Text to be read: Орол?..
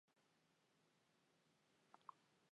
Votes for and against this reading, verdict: 1, 2, rejected